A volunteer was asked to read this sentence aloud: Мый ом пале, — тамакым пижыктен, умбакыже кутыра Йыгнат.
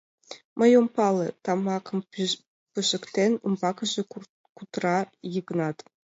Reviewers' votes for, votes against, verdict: 2, 4, rejected